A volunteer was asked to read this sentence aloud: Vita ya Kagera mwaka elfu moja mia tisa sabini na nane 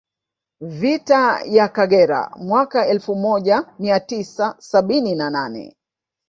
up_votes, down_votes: 1, 2